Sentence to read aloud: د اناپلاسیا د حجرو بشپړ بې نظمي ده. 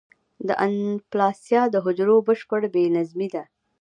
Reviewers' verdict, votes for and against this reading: accepted, 2, 0